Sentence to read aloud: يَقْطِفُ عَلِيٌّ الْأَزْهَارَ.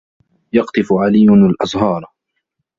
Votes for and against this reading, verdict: 2, 1, accepted